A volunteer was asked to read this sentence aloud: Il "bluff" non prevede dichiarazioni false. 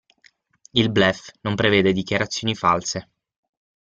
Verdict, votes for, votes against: accepted, 6, 0